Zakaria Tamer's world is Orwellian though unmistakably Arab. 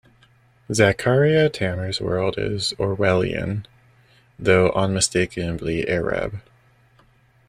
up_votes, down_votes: 1, 2